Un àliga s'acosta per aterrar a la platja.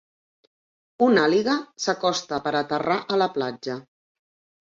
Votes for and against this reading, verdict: 2, 0, accepted